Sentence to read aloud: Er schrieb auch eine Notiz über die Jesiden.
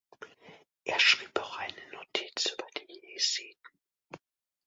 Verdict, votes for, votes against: accepted, 2, 0